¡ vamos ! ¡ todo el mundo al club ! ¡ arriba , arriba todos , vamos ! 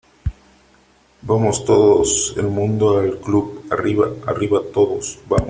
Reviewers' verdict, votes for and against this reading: rejected, 0, 2